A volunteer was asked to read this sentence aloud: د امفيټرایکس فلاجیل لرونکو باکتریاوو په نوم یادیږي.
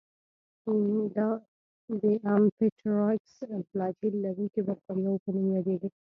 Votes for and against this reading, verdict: 1, 2, rejected